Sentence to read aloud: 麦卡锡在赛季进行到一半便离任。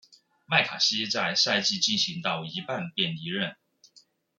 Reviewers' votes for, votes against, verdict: 1, 2, rejected